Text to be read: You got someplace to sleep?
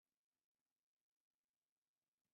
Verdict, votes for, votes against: rejected, 0, 2